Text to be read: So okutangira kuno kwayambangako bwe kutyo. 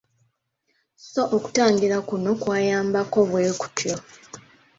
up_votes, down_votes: 2, 0